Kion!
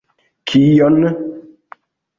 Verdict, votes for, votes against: accepted, 2, 1